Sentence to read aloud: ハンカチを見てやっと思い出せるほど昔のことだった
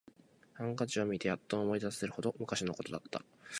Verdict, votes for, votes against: accepted, 4, 0